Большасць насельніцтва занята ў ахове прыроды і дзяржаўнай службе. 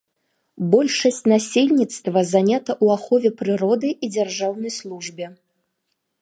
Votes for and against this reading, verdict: 2, 0, accepted